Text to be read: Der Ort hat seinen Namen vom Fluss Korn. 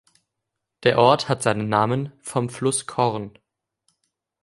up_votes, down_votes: 2, 0